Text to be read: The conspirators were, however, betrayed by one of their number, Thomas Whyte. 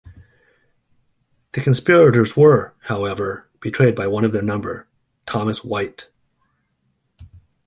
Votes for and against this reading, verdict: 2, 0, accepted